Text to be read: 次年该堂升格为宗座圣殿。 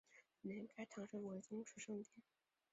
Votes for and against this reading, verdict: 0, 2, rejected